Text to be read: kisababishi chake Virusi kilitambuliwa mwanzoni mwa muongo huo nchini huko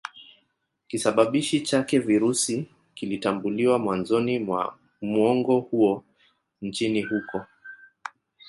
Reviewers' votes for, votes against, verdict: 0, 2, rejected